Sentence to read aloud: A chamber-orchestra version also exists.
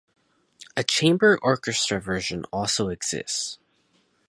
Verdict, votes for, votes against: rejected, 2, 2